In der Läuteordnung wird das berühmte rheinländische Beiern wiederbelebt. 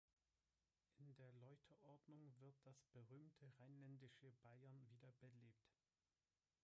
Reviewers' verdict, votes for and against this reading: rejected, 1, 2